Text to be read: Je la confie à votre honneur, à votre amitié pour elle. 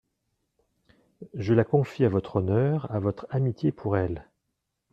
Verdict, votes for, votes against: accepted, 2, 0